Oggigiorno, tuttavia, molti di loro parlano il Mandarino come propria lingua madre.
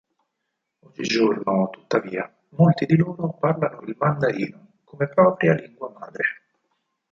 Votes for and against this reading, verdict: 4, 2, accepted